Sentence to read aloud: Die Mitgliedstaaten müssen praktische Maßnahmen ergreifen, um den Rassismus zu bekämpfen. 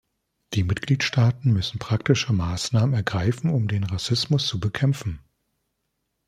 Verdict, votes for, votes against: accepted, 3, 0